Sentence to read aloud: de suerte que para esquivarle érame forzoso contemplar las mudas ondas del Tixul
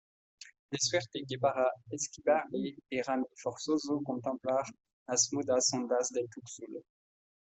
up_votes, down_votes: 2, 0